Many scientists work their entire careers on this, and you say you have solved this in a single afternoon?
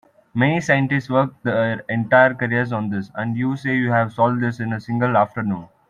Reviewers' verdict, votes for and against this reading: accepted, 2, 1